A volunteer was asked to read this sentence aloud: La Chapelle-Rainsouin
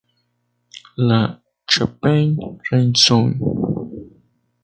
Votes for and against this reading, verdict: 0, 2, rejected